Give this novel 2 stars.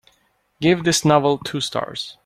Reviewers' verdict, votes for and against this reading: rejected, 0, 2